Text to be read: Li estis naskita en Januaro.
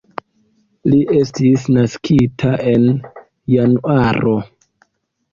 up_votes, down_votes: 2, 0